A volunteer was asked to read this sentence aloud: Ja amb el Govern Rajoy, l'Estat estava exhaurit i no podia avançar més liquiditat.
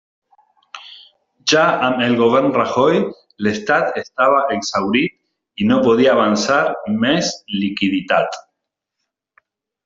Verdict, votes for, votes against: accepted, 2, 1